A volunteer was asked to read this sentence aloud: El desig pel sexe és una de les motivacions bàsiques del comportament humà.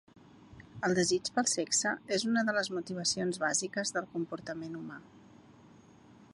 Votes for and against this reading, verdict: 2, 0, accepted